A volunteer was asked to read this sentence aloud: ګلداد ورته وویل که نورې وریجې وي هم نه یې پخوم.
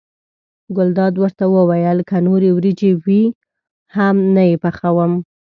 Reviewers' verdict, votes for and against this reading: accepted, 2, 0